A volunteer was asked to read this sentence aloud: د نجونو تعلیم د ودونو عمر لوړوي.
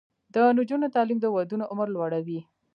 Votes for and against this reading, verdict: 0, 2, rejected